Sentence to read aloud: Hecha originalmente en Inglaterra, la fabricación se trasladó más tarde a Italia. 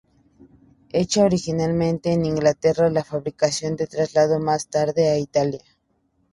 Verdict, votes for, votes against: accepted, 2, 0